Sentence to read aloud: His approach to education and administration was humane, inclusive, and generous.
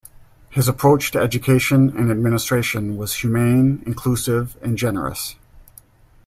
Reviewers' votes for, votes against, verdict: 2, 0, accepted